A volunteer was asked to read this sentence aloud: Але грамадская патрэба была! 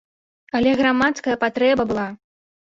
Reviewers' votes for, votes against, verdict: 1, 2, rejected